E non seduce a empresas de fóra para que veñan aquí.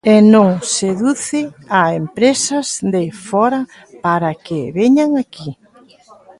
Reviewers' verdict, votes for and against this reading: accepted, 2, 1